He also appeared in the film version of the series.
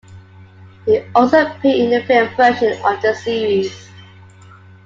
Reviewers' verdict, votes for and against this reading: accepted, 2, 1